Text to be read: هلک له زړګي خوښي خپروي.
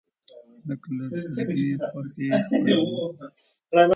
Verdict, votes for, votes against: rejected, 0, 4